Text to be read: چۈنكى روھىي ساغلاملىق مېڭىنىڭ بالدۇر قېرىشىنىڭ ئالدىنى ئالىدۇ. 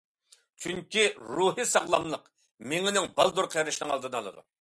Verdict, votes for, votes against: accepted, 2, 0